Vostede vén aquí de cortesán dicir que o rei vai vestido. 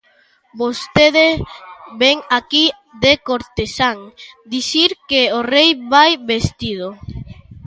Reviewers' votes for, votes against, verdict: 1, 2, rejected